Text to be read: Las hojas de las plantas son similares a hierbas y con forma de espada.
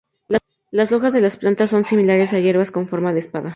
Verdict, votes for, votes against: rejected, 2, 2